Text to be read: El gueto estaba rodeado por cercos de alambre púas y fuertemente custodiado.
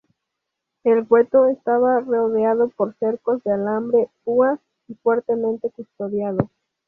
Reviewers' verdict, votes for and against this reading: rejected, 2, 2